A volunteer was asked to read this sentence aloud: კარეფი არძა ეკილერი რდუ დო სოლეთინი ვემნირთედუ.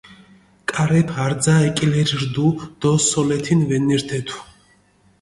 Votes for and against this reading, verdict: 1, 2, rejected